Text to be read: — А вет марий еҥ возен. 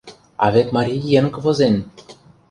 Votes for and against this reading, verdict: 0, 2, rejected